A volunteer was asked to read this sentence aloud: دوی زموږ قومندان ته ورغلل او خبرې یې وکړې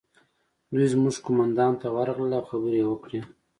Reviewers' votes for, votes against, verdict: 2, 0, accepted